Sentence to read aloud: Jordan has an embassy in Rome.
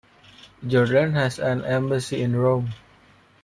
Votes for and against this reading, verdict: 2, 0, accepted